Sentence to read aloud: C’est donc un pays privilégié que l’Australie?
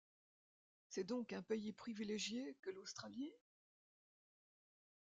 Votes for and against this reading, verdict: 1, 2, rejected